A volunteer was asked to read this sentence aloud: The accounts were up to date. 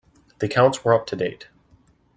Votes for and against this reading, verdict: 2, 0, accepted